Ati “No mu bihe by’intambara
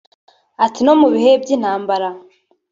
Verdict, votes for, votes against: accepted, 2, 1